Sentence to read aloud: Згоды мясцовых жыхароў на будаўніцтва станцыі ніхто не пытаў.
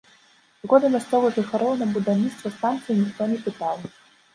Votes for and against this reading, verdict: 1, 2, rejected